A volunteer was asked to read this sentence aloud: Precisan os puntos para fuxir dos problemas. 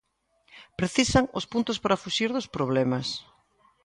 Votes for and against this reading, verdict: 2, 0, accepted